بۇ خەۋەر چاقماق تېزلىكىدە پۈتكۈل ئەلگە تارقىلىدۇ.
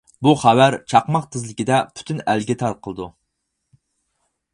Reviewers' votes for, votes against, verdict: 0, 4, rejected